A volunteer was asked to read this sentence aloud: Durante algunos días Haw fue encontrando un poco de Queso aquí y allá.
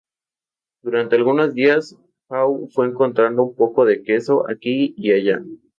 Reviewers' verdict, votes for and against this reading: rejected, 0, 2